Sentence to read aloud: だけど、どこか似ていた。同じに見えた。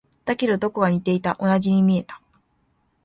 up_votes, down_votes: 3, 1